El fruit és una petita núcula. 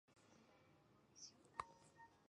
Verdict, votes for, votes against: rejected, 0, 2